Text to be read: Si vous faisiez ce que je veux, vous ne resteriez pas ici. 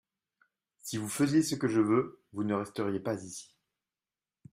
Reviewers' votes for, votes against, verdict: 2, 0, accepted